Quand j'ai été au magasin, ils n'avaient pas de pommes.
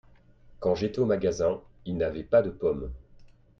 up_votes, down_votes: 2, 0